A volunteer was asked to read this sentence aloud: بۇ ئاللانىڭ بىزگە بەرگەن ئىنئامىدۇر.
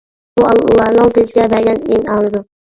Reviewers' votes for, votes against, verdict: 0, 3, rejected